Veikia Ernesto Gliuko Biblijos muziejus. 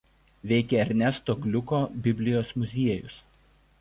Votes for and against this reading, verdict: 2, 0, accepted